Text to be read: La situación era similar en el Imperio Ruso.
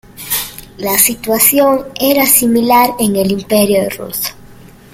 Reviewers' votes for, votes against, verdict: 1, 2, rejected